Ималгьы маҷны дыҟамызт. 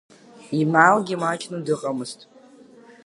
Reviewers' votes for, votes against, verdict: 2, 0, accepted